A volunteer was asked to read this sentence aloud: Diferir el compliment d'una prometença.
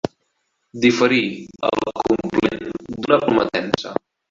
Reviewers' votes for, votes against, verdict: 0, 2, rejected